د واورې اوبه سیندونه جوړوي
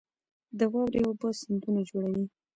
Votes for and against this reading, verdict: 1, 3, rejected